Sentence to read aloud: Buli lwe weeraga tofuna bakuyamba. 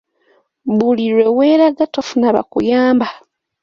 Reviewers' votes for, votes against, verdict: 2, 0, accepted